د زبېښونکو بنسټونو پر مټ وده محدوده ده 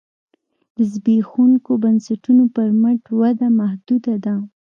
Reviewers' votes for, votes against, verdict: 2, 0, accepted